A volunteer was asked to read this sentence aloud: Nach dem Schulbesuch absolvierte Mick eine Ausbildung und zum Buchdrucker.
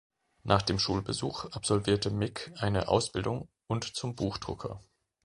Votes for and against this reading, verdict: 3, 0, accepted